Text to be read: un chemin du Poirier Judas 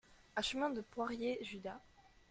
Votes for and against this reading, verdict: 0, 2, rejected